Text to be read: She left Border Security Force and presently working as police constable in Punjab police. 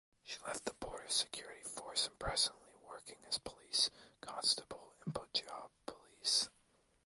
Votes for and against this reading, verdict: 1, 2, rejected